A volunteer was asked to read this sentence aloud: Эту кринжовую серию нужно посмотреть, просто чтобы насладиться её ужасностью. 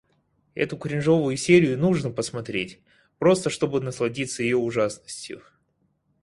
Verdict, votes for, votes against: accepted, 4, 0